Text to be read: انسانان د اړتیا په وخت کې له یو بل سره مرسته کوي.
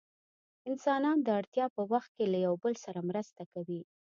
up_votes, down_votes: 2, 0